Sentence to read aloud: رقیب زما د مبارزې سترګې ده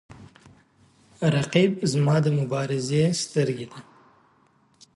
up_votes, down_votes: 5, 1